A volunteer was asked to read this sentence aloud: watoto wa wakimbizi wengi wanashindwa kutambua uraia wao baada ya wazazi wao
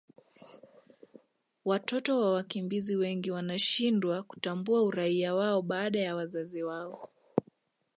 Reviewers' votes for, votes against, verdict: 2, 0, accepted